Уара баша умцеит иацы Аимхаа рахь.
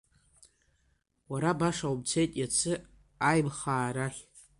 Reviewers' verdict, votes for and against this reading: accepted, 2, 1